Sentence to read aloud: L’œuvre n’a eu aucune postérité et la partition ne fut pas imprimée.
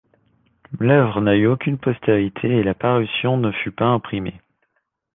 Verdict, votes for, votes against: rejected, 1, 2